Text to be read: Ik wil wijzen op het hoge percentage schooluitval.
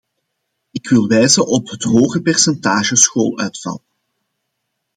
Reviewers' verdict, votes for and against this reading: accepted, 2, 0